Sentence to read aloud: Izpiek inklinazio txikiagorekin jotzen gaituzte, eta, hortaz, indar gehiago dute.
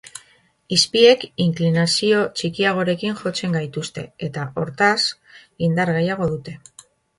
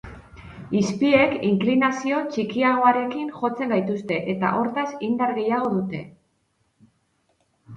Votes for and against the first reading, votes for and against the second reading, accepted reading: 2, 0, 2, 2, first